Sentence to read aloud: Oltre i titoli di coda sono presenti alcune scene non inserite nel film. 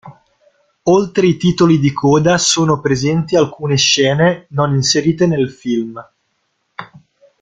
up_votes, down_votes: 0, 2